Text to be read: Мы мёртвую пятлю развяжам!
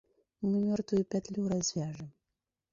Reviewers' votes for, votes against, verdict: 0, 2, rejected